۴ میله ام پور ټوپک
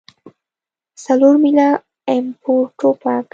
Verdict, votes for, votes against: rejected, 0, 2